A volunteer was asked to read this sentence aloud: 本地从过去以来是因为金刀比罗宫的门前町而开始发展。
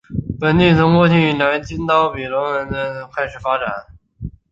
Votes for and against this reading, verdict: 0, 6, rejected